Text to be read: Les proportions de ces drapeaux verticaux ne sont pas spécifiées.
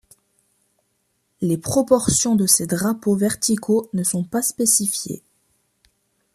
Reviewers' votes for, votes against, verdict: 2, 0, accepted